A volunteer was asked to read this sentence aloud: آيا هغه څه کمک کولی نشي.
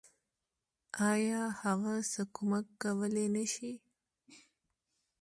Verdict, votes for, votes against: accepted, 2, 0